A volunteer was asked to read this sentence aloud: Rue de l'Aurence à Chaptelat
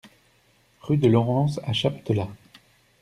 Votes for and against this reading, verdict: 2, 0, accepted